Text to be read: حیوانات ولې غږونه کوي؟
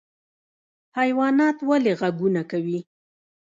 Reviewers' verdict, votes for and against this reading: rejected, 1, 2